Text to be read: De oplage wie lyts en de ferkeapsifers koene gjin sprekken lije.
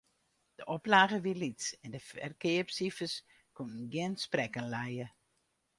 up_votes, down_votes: 2, 4